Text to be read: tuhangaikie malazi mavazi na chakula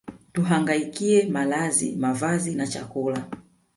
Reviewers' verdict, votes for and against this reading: accepted, 2, 0